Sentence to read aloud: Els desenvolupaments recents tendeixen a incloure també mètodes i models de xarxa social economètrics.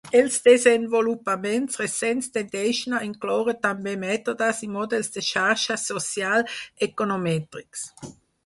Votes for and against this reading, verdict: 2, 4, rejected